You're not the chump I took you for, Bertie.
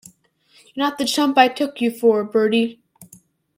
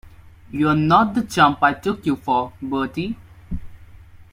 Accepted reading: second